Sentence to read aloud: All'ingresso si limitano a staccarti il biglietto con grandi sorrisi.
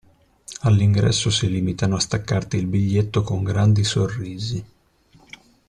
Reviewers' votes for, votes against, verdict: 2, 0, accepted